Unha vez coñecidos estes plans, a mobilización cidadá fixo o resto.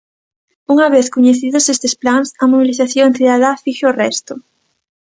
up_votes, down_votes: 2, 1